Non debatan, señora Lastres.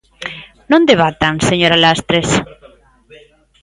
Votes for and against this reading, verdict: 1, 2, rejected